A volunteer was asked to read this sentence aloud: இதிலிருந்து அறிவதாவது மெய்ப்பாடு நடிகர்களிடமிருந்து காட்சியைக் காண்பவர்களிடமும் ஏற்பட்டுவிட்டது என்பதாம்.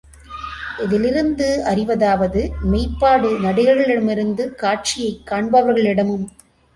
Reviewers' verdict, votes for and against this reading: rejected, 0, 2